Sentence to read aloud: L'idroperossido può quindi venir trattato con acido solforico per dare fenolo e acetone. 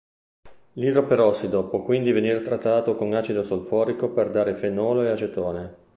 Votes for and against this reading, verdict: 0, 2, rejected